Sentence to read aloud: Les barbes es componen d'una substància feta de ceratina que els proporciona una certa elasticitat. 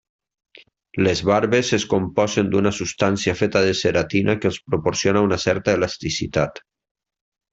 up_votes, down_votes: 1, 2